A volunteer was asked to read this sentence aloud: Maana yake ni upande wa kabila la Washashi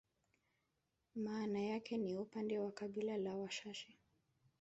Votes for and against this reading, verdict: 0, 2, rejected